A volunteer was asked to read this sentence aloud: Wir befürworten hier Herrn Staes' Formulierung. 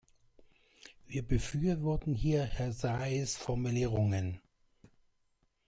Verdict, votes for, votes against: rejected, 0, 2